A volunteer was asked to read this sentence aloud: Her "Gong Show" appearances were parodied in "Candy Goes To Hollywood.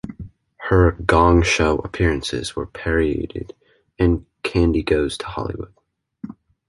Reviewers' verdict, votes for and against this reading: accepted, 2, 0